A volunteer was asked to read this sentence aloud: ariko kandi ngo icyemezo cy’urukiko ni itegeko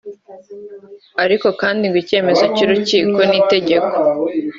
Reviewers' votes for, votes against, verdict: 2, 0, accepted